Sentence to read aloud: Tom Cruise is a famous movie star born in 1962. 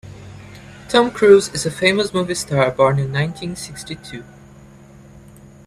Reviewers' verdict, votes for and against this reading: rejected, 0, 2